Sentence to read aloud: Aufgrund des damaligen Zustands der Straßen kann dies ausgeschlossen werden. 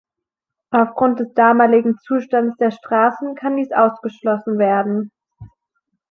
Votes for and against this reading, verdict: 2, 0, accepted